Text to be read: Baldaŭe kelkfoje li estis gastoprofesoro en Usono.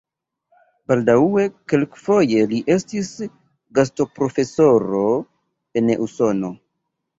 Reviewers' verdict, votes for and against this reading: rejected, 0, 2